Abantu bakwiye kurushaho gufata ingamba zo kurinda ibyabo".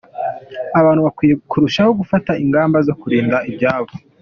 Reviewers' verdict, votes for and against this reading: accepted, 2, 0